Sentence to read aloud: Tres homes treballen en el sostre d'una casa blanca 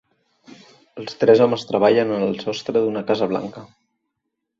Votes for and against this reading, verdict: 1, 2, rejected